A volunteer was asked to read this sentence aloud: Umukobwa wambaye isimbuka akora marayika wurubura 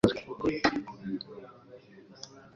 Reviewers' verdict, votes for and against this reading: rejected, 0, 2